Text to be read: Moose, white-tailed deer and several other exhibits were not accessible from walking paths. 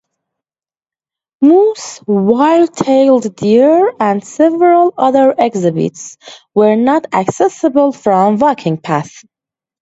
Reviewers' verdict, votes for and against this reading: accepted, 2, 0